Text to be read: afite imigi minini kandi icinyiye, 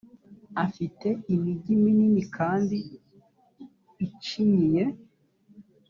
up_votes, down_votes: 3, 0